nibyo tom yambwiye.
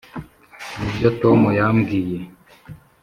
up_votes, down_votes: 4, 0